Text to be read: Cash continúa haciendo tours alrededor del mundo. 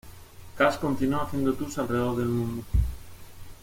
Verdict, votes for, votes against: accepted, 2, 0